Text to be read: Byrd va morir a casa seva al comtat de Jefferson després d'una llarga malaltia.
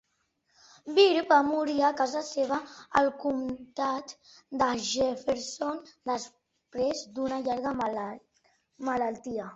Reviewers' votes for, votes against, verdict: 1, 3, rejected